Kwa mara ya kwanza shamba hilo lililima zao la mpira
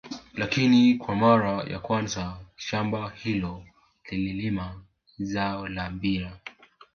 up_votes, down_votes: 1, 3